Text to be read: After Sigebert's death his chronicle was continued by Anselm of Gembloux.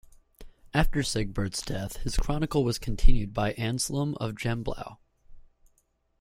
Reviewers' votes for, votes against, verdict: 2, 0, accepted